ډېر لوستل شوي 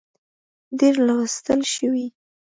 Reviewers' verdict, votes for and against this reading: accepted, 2, 0